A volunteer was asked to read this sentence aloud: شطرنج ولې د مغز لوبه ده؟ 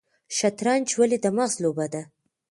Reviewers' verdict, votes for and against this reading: accepted, 2, 0